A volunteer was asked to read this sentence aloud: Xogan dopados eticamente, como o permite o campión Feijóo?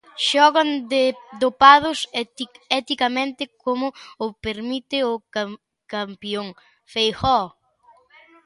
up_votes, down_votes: 0, 2